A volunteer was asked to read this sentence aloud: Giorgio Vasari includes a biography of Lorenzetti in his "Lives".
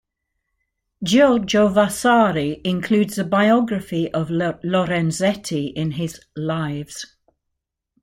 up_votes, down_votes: 1, 2